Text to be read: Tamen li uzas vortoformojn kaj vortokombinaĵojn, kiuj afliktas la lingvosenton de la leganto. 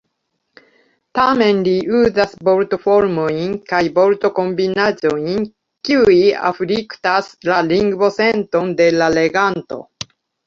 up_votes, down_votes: 2, 0